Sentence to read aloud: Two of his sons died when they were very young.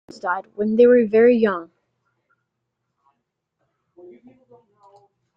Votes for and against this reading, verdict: 0, 2, rejected